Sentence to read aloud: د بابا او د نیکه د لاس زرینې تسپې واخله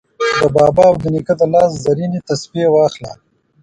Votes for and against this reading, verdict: 1, 2, rejected